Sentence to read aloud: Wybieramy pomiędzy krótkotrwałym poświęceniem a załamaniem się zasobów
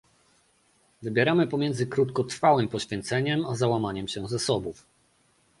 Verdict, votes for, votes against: rejected, 1, 2